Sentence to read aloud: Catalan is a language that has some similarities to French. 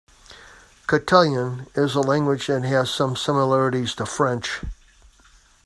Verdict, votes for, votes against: rejected, 0, 2